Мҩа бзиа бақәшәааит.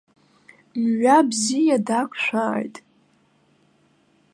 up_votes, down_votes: 0, 2